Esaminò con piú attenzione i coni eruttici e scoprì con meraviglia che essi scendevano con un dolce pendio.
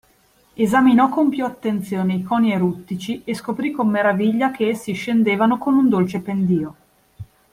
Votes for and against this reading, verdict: 2, 0, accepted